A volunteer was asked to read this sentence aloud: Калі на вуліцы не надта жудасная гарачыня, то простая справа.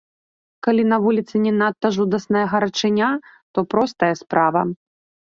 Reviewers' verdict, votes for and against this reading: accepted, 2, 0